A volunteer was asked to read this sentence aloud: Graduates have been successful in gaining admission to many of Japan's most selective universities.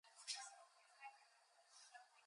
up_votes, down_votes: 0, 2